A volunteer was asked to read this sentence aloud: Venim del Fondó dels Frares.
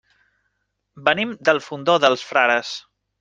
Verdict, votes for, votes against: accepted, 3, 0